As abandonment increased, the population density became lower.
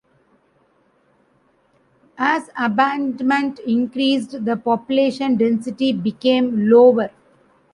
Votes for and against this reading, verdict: 1, 2, rejected